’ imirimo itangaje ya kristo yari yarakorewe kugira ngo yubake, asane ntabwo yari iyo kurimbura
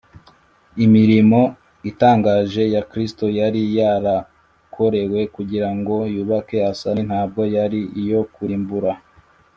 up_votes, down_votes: 2, 0